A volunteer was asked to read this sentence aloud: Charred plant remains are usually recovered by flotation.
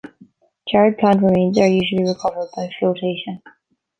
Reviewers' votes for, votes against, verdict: 1, 2, rejected